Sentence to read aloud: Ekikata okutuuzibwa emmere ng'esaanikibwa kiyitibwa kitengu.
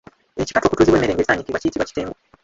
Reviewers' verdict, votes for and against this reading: rejected, 0, 3